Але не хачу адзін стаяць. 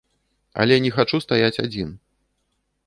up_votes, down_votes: 0, 2